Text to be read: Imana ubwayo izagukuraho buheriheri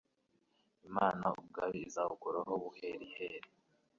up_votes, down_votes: 2, 0